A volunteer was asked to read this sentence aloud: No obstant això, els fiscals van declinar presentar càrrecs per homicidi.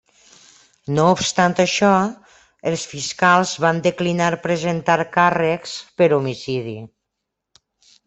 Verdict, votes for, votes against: accepted, 3, 0